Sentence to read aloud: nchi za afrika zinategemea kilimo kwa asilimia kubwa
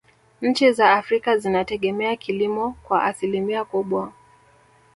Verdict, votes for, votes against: rejected, 0, 2